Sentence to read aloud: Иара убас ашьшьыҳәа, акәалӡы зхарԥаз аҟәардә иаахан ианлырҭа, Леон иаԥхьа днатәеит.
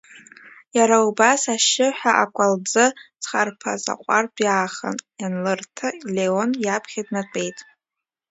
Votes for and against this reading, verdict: 2, 0, accepted